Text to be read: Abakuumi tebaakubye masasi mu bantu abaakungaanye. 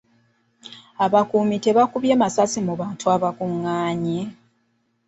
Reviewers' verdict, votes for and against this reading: rejected, 1, 2